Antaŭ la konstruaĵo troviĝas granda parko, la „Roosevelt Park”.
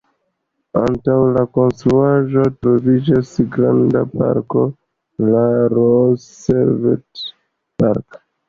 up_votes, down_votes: 2, 0